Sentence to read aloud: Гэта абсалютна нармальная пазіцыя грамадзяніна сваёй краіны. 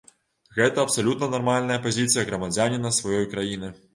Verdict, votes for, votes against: rejected, 1, 2